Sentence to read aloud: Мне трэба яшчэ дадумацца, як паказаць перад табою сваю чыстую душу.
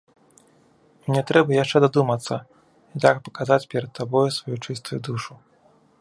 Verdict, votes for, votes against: accepted, 3, 2